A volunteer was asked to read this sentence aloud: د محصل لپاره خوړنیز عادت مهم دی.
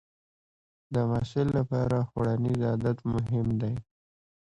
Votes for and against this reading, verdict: 2, 0, accepted